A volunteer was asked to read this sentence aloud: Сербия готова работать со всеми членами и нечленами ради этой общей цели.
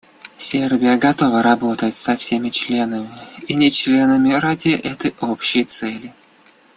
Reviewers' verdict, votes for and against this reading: accepted, 2, 0